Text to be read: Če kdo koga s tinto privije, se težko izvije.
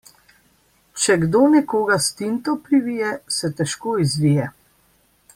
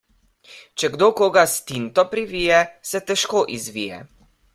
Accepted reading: second